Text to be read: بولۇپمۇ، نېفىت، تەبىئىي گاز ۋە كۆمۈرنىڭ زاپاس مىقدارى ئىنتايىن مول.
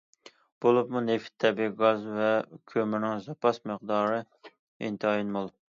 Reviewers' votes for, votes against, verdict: 2, 0, accepted